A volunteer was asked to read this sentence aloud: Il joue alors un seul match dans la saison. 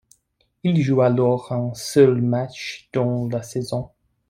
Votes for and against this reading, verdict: 2, 0, accepted